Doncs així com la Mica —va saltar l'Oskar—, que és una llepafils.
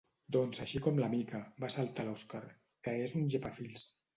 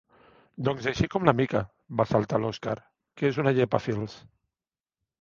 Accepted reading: second